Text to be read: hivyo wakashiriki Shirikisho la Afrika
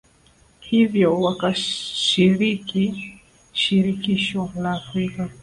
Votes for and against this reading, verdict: 4, 1, accepted